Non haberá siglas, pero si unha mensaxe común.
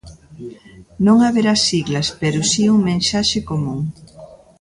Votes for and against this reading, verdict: 0, 2, rejected